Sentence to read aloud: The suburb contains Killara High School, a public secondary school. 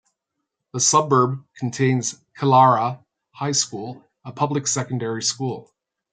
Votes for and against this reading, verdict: 2, 0, accepted